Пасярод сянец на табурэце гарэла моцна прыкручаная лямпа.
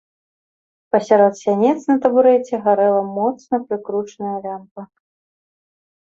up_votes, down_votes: 2, 0